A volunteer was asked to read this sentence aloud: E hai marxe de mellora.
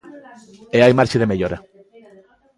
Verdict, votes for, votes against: accepted, 2, 0